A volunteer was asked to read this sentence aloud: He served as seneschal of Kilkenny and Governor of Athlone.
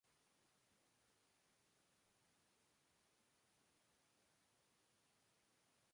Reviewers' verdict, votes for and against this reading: rejected, 0, 2